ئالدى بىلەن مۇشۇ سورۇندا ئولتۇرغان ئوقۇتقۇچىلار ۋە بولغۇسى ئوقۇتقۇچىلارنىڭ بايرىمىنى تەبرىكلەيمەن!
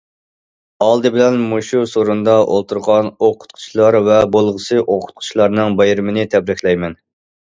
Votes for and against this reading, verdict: 2, 0, accepted